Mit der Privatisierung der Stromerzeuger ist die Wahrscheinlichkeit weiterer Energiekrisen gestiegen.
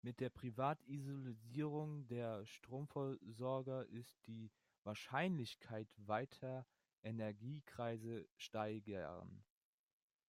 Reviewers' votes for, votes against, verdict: 0, 3, rejected